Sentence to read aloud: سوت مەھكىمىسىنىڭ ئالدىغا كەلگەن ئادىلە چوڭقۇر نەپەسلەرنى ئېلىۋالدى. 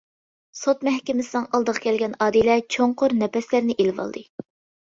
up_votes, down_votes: 2, 0